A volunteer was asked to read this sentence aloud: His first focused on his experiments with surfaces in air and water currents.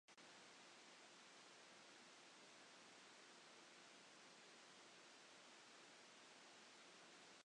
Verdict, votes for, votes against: rejected, 0, 2